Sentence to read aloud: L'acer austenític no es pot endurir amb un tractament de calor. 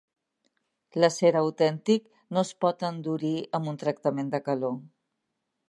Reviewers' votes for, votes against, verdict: 1, 2, rejected